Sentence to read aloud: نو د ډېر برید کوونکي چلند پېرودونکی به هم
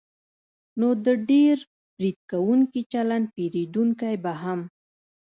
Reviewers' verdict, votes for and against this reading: rejected, 1, 2